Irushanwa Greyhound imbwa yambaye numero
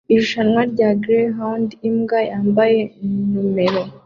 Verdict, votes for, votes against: accepted, 2, 0